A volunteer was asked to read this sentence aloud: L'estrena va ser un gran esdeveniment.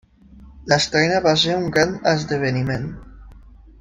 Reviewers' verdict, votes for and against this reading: accepted, 2, 0